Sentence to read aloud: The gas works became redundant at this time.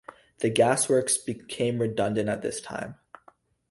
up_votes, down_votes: 2, 0